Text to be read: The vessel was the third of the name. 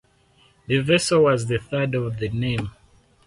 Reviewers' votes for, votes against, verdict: 4, 0, accepted